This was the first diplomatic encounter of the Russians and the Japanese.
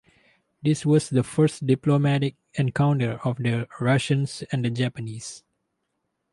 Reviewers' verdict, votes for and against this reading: accepted, 4, 0